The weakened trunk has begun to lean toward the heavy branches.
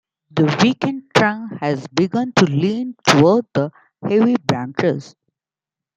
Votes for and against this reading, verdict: 1, 2, rejected